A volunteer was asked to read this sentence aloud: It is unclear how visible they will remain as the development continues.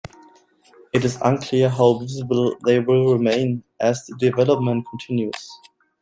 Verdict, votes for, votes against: accepted, 2, 0